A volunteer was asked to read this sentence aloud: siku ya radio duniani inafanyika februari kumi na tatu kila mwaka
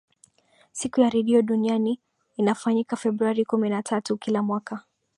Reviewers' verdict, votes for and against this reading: accepted, 2, 1